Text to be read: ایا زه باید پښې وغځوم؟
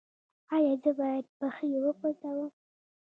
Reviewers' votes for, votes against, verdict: 2, 1, accepted